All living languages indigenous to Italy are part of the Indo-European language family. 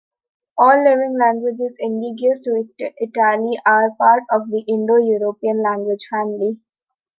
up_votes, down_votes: 0, 2